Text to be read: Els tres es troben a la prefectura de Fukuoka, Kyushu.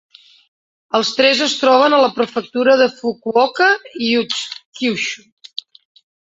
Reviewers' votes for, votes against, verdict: 1, 2, rejected